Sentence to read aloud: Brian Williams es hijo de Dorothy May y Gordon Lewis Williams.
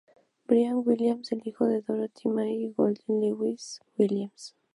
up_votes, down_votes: 0, 2